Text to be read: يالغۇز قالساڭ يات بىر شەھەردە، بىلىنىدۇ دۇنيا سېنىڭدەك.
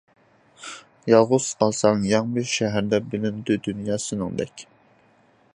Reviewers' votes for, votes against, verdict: 0, 2, rejected